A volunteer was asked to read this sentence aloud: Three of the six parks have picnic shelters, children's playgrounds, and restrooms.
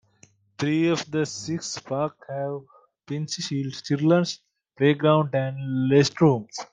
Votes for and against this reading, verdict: 0, 2, rejected